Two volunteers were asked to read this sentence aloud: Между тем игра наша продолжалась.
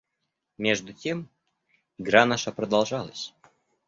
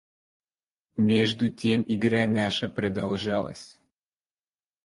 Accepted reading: first